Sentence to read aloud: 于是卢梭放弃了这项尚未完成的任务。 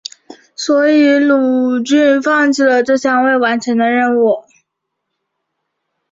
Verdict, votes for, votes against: rejected, 0, 4